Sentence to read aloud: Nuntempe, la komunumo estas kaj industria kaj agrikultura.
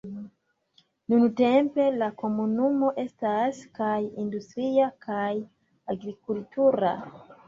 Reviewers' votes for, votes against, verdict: 0, 2, rejected